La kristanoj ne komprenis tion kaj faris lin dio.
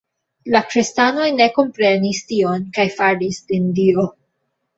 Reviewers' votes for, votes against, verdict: 1, 2, rejected